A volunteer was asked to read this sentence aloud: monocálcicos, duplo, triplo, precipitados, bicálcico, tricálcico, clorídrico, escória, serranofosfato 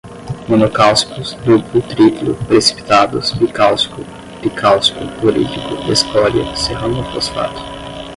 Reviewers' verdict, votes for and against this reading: rejected, 5, 5